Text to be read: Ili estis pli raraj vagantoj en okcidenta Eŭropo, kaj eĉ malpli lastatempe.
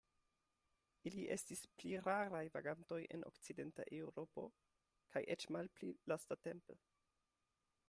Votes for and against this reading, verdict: 2, 0, accepted